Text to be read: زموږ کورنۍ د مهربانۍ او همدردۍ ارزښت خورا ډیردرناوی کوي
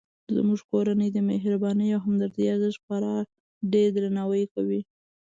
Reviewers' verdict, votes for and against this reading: accepted, 2, 0